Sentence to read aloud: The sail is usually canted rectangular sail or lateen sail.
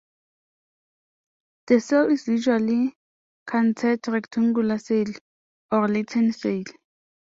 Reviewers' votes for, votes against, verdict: 0, 2, rejected